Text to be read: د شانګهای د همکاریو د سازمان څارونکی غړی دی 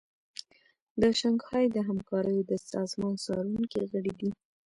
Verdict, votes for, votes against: rejected, 0, 2